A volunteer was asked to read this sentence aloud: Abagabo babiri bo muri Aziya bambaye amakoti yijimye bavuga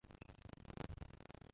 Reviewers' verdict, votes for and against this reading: rejected, 0, 3